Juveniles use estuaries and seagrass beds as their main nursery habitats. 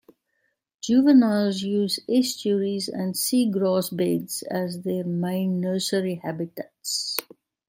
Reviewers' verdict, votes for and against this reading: accepted, 2, 0